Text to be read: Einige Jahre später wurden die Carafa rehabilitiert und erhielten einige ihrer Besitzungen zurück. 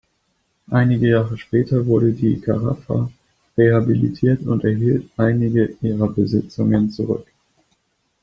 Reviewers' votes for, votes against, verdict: 1, 2, rejected